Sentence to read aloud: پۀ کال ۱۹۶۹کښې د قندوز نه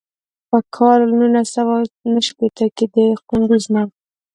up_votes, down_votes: 0, 2